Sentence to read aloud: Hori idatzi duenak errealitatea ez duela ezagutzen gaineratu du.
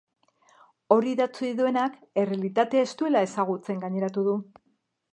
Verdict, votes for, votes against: accepted, 2, 0